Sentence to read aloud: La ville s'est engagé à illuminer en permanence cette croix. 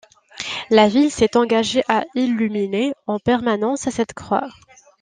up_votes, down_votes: 2, 0